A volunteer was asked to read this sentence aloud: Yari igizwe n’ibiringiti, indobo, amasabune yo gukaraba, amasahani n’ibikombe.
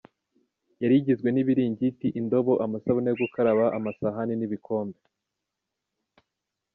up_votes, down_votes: 2, 0